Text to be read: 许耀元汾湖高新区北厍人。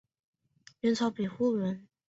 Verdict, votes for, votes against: rejected, 0, 2